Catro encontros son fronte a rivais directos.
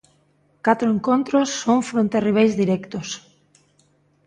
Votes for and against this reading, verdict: 2, 0, accepted